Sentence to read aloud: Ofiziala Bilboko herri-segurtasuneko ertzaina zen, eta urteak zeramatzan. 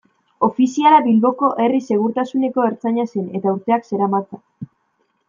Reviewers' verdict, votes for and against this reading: rejected, 1, 2